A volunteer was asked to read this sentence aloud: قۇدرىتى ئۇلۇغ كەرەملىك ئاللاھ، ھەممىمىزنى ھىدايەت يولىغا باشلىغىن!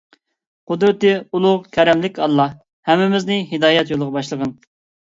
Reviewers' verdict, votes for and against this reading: accepted, 2, 0